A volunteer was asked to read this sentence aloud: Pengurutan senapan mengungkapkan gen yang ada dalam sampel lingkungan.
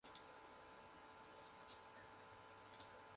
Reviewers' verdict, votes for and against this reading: rejected, 0, 2